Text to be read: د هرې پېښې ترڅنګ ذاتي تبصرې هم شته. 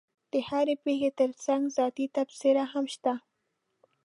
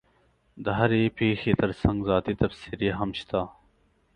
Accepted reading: second